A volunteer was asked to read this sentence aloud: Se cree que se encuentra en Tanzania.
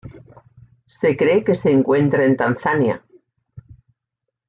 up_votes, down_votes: 2, 0